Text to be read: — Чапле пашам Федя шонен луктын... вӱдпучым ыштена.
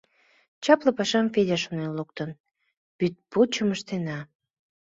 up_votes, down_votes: 2, 0